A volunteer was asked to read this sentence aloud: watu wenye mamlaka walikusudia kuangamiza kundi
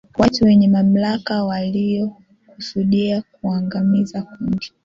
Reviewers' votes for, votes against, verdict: 2, 1, accepted